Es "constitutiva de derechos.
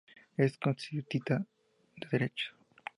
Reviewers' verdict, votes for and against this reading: accepted, 2, 0